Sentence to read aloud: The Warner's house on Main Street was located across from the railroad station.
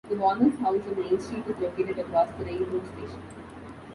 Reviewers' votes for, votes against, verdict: 0, 2, rejected